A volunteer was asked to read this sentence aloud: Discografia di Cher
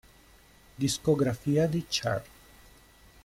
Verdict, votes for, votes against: rejected, 0, 2